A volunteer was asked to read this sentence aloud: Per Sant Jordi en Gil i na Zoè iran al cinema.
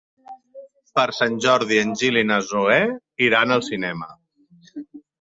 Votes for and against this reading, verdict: 3, 0, accepted